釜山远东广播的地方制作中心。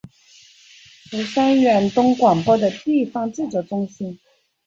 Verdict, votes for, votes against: accepted, 2, 0